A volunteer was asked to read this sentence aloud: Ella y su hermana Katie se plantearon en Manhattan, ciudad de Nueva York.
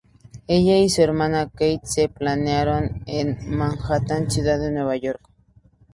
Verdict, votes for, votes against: rejected, 0, 4